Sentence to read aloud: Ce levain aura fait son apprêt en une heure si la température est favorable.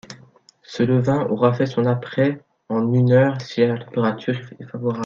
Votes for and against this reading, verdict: 1, 2, rejected